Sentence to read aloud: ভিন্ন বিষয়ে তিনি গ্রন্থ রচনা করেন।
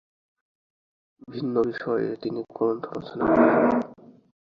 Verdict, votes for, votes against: rejected, 0, 2